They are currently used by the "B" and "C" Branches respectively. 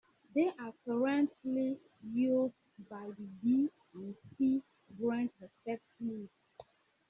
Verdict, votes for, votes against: accepted, 2, 1